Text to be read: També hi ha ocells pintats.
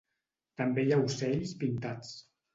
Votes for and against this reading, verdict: 4, 0, accepted